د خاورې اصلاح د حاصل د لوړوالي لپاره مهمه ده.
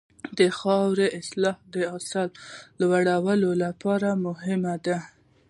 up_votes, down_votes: 2, 1